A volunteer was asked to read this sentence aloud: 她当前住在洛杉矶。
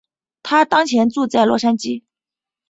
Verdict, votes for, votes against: accepted, 3, 0